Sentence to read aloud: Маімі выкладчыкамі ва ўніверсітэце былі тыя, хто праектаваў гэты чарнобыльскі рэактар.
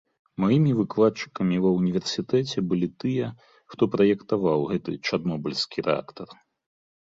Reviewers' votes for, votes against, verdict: 2, 0, accepted